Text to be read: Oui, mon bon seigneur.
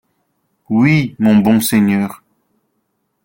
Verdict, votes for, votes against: accepted, 2, 0